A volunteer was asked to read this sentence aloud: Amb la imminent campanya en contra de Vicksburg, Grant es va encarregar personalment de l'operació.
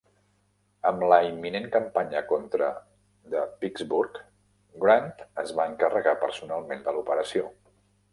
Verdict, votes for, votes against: rejected, 0, 2